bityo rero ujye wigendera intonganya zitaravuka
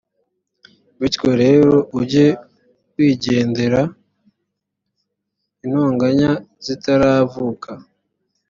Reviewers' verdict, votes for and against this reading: accepted, 2, 0